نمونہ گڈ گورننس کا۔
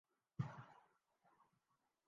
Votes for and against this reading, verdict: 0, 2, rejected